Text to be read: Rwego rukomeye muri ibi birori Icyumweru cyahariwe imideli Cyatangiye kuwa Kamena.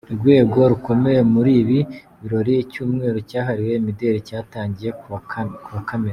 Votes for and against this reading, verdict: 0, 2, rejected